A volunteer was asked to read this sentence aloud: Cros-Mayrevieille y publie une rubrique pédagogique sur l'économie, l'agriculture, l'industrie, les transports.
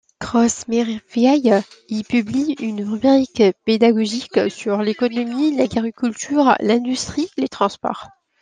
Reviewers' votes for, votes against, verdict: 2, 1, accepted